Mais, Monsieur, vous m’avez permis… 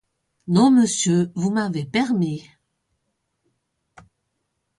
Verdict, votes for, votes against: rejected, 0, 2